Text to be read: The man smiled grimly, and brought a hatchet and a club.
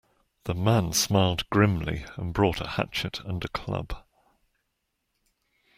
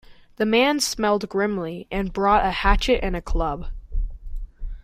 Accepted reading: first